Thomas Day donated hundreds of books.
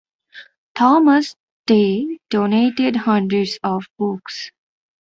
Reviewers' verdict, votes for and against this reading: accepted, 2, 0